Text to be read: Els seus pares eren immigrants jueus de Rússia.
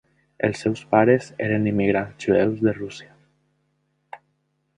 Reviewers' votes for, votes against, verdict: 0, 2, rejected